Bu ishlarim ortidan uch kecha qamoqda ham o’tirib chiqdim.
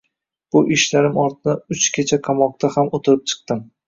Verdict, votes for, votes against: rejected, 0, 2